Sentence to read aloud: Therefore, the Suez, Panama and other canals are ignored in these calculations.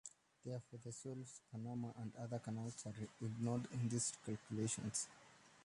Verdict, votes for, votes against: rejected, 0, 2